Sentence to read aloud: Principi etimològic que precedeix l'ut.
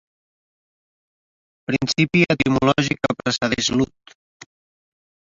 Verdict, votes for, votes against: rejected, 1, 2